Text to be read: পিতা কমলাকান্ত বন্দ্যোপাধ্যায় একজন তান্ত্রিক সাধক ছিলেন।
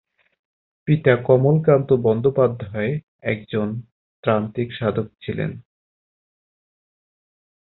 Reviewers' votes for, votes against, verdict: 2, 4, rejected